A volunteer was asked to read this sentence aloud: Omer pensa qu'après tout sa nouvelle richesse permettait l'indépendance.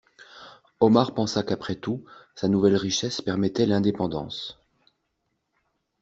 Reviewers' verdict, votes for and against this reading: rejected, 0, 2